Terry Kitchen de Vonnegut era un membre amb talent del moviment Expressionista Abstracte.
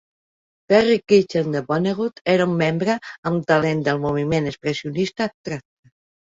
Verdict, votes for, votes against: rejected, 1, 2